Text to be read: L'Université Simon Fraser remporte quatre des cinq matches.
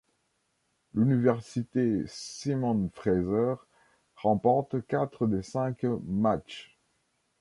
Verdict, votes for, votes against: accepted, 2, 0